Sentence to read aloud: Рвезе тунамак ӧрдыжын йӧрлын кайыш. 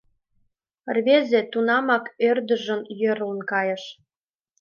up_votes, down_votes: 4, 0